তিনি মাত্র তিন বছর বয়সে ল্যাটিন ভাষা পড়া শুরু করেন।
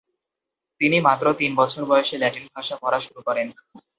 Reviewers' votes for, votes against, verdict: 2, 0, accepted